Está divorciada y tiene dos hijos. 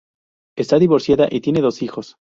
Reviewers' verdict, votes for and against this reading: rejected, 0, 2